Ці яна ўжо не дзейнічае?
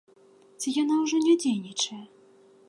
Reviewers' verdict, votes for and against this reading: accepted, 2, 0